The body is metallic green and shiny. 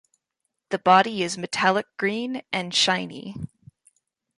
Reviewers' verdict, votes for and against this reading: accepted, 2, 0